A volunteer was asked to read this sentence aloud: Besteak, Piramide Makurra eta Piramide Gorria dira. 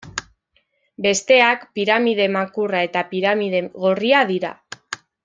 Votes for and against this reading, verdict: 3, 1, accepted